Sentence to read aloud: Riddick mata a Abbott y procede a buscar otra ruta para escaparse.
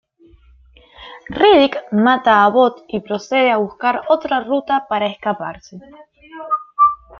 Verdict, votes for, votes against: accepted, 2, 0